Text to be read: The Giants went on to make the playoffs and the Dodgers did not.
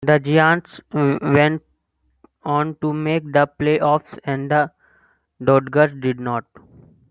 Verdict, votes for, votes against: rejected, 0, 2